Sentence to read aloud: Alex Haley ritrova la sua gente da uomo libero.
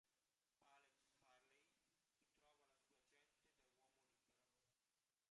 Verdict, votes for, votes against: rejected, 0, 2